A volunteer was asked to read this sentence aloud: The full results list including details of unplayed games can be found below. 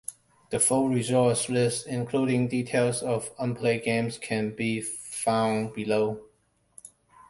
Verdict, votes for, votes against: accepted, 2, 0